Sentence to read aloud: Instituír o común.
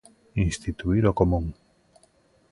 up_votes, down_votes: 2, 0